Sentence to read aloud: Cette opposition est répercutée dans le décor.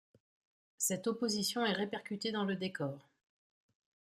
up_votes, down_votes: 2, 0